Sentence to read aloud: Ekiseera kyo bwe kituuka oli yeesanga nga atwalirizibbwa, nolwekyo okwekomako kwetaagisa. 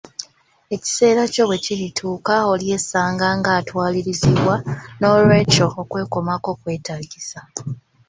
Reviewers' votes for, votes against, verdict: 0, 2, rejected